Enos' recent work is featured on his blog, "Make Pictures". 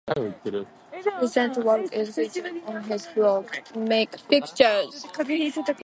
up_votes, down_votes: 0, 2